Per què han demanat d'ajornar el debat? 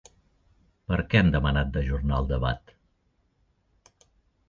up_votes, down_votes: 2, 0